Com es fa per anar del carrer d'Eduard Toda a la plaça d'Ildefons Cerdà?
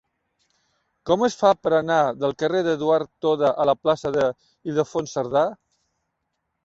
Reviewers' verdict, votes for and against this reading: rejected, 1, 2